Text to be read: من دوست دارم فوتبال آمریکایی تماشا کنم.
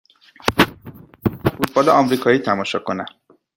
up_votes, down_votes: 1, 2